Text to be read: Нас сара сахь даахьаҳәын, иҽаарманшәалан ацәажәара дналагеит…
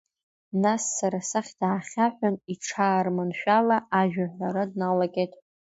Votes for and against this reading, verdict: 0, 2, rejected